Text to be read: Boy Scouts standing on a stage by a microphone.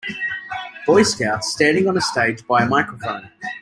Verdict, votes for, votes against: accepted, 2, 0